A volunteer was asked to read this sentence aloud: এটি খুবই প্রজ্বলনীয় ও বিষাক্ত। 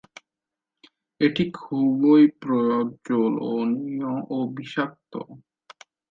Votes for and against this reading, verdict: 1, 2, rejected